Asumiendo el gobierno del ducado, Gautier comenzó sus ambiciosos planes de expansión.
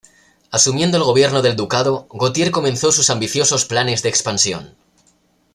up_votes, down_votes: 2, 0